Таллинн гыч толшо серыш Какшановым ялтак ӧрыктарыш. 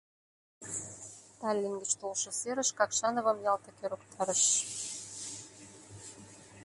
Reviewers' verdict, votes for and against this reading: accepted, 2, 1